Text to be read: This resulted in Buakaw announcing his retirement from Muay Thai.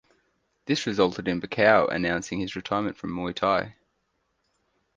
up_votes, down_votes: 4, 0